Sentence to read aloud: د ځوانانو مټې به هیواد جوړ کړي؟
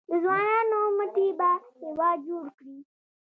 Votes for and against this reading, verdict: 2, 0, accepted